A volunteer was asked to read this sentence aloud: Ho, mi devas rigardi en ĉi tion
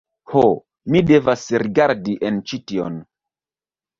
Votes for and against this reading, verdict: 2, 1, accepted